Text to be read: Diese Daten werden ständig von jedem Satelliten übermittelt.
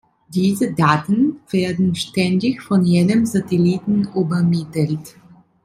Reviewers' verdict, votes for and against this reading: rejected, 0, 2